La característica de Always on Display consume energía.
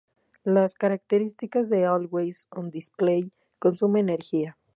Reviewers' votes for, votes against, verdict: 0, 2, rejected